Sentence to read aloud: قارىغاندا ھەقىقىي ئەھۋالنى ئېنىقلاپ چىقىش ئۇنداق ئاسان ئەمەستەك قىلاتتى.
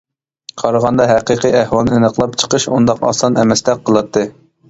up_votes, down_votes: 2, 0